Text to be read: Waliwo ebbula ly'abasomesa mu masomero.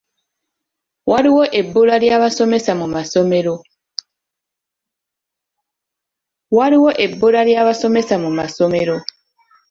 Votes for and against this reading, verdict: 1, 2, rejected